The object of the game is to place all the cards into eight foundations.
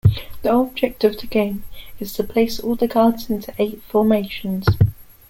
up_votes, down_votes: 1, 2